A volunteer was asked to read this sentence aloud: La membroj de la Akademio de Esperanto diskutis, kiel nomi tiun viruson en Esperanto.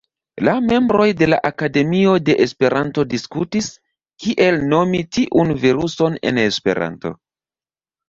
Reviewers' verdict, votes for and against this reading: accepted, 2, 1